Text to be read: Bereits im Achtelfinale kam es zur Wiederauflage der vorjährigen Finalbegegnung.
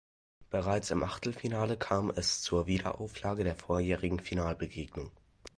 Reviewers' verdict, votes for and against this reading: accepted, 2, 0